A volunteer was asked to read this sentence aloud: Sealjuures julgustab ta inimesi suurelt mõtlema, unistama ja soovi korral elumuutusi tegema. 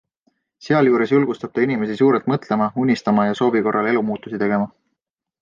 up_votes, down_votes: 2, 1